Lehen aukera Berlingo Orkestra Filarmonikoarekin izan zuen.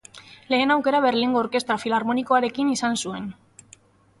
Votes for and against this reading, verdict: 2, 0, accepted